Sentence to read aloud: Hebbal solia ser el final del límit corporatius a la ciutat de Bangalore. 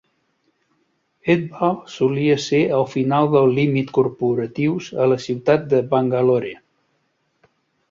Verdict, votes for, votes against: accepted, 3, 0